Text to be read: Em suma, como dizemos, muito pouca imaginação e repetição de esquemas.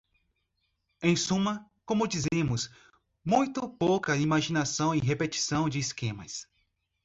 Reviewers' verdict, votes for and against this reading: accepted, 2, 0